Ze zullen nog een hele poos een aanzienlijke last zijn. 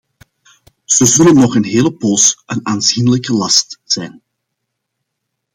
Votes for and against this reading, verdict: 2, 0, accepted